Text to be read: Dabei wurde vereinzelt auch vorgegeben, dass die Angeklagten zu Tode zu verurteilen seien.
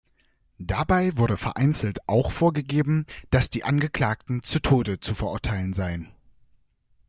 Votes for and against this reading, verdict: 2, 0, accepted